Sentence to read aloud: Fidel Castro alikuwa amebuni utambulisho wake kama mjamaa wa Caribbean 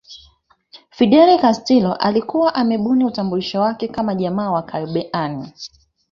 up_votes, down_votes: 1, 2